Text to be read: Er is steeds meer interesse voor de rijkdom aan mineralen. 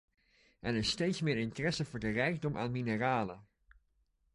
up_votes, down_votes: 2, 0